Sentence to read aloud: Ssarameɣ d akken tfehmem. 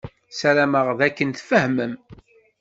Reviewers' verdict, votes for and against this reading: accepted, 2, 0